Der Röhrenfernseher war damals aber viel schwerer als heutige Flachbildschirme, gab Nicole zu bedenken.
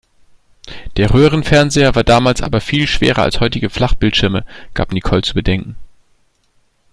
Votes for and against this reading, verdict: 2, 0, accepted